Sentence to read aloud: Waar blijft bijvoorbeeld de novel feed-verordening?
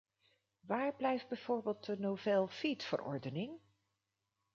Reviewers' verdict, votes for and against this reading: rejected, 0, 2